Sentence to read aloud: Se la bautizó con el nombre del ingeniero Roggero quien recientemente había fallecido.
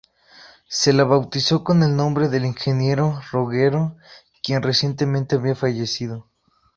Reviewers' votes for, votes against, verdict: 2, 0, accepted